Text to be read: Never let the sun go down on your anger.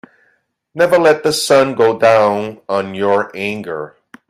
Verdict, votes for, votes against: rejected, 1, 2